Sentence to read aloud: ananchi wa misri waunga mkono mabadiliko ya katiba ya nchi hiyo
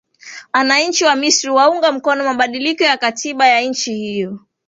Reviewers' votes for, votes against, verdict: 2, 1, accepted